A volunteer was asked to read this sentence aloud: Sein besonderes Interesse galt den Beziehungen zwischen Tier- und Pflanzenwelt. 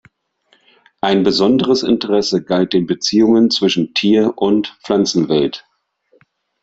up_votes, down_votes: 0, 2